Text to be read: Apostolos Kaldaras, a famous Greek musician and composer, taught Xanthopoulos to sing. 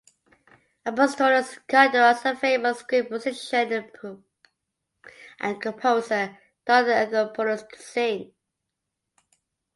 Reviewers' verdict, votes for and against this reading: rejected, 0, 2